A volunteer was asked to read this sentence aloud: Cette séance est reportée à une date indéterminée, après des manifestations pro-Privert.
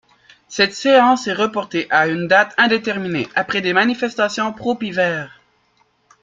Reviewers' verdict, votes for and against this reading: rejected, 0, 3